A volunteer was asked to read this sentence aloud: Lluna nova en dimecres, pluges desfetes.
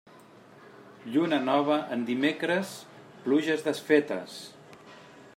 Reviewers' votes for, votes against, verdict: 3, 0, accepted